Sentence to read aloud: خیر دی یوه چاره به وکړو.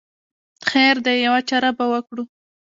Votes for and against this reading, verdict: 1, 2, rejected